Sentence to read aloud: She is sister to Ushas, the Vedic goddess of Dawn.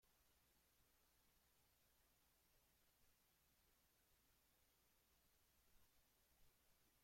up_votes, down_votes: 1, 2